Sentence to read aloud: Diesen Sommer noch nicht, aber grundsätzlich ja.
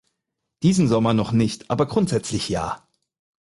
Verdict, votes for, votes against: accepted, 4, 0